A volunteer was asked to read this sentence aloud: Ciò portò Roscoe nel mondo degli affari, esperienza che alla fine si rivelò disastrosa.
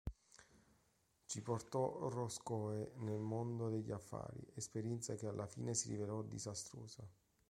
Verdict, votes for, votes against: rejected, 0, 2